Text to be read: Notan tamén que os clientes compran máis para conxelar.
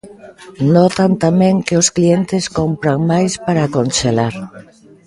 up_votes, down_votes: 1, 2